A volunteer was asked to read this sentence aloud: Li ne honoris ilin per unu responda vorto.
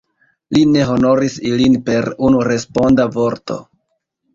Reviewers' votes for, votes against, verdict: 2, 1, accepted